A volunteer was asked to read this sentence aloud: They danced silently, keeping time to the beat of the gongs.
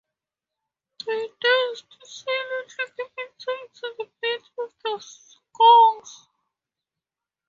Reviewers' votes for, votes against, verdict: 0, 4, rejected